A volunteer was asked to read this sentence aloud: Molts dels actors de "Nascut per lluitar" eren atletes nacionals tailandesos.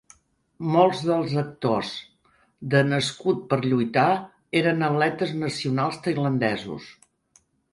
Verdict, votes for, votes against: accepted, 2, 0